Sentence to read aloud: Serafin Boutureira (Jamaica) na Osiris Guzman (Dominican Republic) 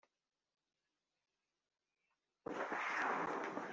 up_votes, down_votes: 1, 2